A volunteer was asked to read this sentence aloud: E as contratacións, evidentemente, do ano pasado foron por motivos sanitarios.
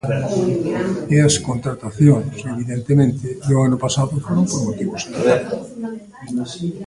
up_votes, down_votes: 0, 2